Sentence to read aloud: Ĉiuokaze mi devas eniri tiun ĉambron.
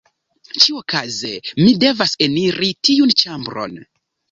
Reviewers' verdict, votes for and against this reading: accepted, 3, 0